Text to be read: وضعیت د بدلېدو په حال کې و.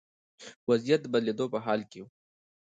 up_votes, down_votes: 2, 0